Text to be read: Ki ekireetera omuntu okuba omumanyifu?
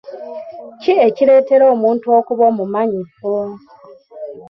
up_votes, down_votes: 2, 0